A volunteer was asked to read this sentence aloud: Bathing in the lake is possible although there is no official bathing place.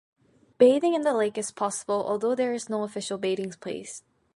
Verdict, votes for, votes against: accepted, 2, 1